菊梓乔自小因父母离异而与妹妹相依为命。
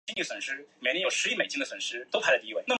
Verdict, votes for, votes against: accepted, 3, 2